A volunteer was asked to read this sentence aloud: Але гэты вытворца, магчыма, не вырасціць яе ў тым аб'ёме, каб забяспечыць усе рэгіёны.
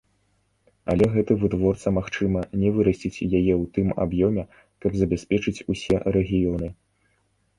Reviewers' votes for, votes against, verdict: 2, 0, accepted